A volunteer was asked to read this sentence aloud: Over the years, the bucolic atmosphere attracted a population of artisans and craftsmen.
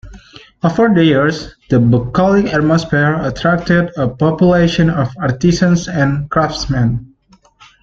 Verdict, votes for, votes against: accepted, 2, 1